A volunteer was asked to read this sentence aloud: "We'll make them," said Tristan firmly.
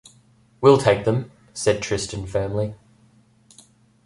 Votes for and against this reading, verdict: 1, 2, rejected